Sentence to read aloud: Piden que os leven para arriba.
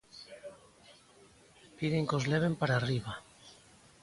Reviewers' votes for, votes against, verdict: 3, 0, accepted